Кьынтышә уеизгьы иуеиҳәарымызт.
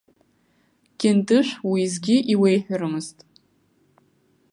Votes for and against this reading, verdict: 1, 2, rejected